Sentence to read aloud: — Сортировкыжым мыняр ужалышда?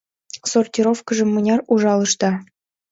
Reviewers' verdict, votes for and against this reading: accepted, 2, 0